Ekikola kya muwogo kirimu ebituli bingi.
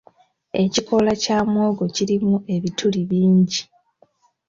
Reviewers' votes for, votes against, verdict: 2, 0, accepted